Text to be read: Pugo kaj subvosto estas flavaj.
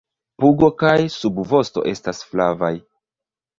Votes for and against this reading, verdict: 0, 2, rejected